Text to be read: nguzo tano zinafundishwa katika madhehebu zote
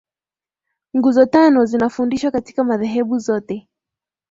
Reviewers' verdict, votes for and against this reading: accepted, 2, 0